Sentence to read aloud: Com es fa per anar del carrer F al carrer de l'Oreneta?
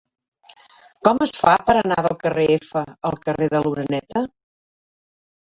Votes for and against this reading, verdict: 0, 2, rejected